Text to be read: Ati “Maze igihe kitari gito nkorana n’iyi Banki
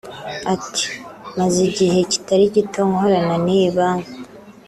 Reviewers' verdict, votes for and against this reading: accepted, 3, 0